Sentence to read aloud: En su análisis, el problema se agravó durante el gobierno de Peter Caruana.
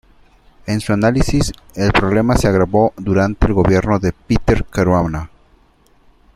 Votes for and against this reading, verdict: 1, 2, rejected